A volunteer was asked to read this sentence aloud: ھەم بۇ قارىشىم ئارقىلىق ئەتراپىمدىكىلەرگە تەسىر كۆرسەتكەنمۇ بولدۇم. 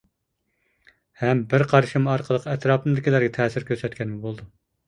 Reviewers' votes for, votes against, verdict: 0, 2, rejected